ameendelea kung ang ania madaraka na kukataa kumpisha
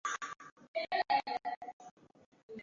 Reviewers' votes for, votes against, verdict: 0, 2, rejected